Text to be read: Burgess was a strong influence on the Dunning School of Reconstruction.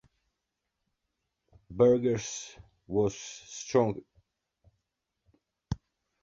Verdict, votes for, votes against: rejected, 0, 2